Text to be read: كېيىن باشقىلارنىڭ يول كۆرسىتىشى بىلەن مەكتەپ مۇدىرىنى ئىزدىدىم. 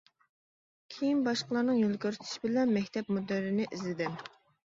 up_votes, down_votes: 0, 2